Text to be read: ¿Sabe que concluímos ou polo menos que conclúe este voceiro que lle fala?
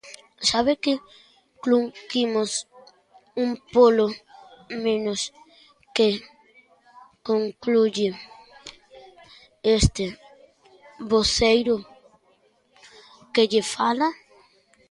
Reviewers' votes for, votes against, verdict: 0, 10, rejected